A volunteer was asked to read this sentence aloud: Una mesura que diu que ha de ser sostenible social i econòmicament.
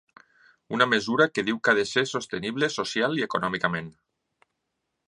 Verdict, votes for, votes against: accepted, 2, 0